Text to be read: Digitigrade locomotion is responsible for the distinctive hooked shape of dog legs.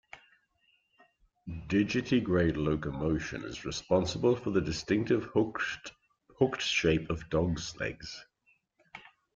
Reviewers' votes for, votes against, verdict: 1, 2, rejected